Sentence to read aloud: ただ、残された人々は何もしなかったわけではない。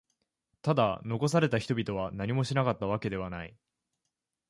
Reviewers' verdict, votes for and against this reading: accepted, 2, 0